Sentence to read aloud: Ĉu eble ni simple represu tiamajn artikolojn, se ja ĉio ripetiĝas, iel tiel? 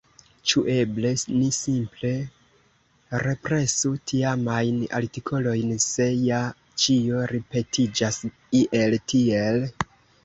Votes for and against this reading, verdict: 1, 2, rejected